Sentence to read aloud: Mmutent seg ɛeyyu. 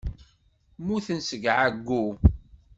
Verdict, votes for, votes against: rejected, 1, 2